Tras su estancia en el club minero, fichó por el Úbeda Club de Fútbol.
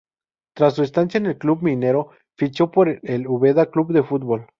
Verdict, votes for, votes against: rejected, 0, 2